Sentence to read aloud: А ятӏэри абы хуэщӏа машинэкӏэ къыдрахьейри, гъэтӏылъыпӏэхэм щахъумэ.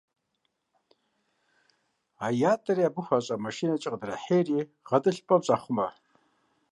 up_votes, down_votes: 1, 2